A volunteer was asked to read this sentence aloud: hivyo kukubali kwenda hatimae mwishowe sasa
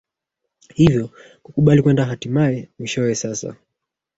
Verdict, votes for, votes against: rejected, 1, 2